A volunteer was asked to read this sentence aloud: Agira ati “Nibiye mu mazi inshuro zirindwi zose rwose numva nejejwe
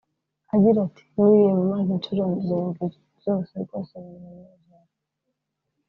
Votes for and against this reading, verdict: 0, 2, rejected